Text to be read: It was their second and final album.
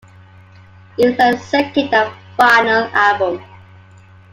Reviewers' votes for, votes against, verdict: 0, 2, rejected